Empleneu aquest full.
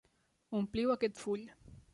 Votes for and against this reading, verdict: 0, 2, rejected